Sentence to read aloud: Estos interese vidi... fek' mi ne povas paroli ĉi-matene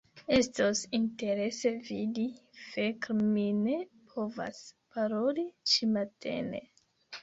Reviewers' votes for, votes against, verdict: 2, 0, accepted